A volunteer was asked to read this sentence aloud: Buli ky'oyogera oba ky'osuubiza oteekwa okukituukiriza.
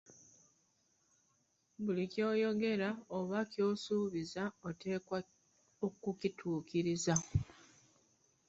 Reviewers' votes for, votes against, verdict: 0, 2, rejected